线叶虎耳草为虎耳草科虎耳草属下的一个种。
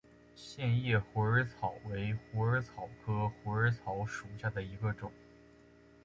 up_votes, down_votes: 3, 0